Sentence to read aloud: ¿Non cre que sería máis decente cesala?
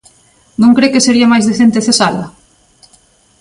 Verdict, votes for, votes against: accepted, 2, 0